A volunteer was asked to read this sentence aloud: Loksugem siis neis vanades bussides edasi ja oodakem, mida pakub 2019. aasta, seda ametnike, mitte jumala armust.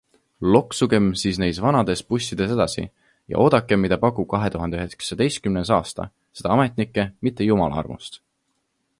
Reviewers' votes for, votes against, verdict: 0, 2, rejected